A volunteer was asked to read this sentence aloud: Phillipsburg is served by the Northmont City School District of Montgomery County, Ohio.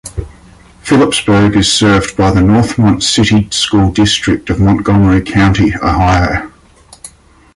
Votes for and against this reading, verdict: 2, 0, accepted